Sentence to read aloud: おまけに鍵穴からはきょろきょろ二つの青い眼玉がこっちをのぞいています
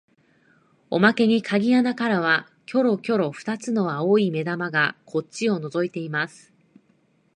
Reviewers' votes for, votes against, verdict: 2, 0, accepted